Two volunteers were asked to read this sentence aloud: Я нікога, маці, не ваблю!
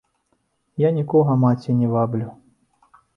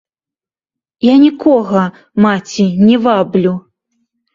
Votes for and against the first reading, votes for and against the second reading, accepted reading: 2, 0, 0, 2, first